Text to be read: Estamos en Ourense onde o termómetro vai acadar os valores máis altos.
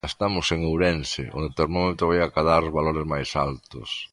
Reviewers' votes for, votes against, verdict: 2, 0, accepted